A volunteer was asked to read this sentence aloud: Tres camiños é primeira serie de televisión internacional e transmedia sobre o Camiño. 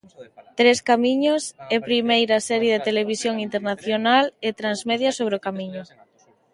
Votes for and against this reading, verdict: 0, 2, rejected